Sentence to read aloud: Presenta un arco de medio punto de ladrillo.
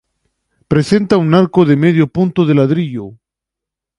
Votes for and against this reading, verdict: 2, 0, accepted